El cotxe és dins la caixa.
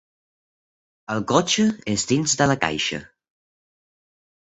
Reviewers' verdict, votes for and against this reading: rejected, 1, 2